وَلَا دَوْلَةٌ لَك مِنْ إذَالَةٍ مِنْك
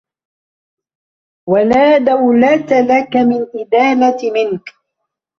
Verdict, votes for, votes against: rejected, 1, 2